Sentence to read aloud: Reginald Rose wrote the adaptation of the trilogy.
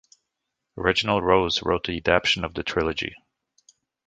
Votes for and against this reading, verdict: 2, 0, accepted